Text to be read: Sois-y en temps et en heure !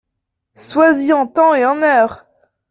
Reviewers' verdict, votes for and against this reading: accepted, 2, 0